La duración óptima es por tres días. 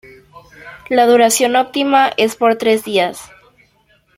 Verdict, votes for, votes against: accepted, 2, 0